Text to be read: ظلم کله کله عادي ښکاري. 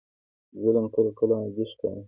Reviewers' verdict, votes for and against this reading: accepted, 2, 0